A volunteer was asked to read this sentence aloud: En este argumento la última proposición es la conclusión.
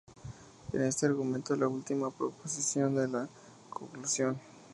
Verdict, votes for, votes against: rejected, 0, 2